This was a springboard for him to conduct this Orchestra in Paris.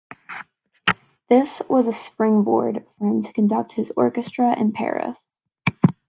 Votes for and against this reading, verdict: 2, 0, accepted